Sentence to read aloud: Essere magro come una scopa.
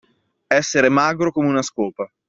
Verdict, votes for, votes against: accepted, 2, 0